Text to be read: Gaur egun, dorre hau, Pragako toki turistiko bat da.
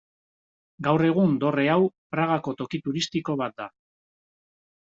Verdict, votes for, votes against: accepted, 2, 0